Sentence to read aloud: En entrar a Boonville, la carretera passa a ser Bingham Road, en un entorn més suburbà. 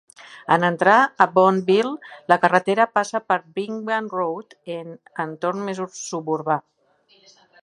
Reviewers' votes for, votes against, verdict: 2, 1, accepted